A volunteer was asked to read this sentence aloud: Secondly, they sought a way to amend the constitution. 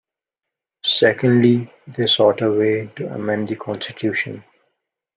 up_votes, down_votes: 2, 1